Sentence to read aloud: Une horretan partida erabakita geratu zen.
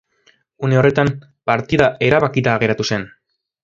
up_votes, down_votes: 3, 0